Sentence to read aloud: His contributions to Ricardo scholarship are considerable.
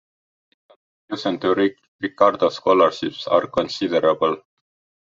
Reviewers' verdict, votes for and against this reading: rejected, 1, 2